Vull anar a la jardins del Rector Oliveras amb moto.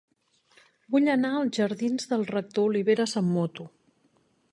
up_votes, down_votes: 2, 1